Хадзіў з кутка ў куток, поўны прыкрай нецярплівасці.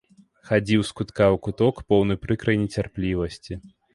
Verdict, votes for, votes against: accepted, 2, 0